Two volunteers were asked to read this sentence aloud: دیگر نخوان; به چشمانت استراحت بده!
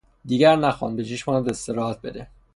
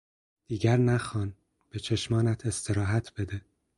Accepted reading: second